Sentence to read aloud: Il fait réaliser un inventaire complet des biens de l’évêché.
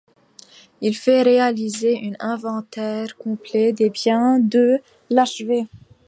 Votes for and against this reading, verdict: 0, 2, rejected